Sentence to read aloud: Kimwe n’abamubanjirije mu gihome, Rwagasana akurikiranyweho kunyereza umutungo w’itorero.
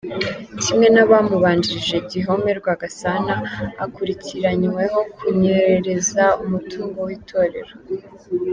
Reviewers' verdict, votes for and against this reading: rejected, 2, 3